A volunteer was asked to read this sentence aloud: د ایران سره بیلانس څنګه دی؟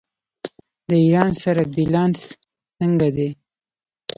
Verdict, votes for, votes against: accepted, 2, 0